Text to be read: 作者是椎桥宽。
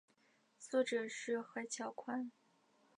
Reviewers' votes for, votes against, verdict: 2, 0, accepted